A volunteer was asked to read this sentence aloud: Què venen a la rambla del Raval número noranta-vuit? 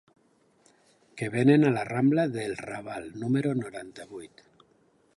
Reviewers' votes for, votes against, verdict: 4, 1, accepted